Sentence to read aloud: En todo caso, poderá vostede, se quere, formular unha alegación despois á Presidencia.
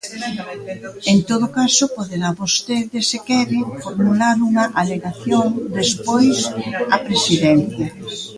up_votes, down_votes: 0, 2